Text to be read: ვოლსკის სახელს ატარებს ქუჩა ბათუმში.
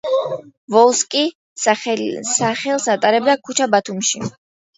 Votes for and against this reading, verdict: 0, 2, rejected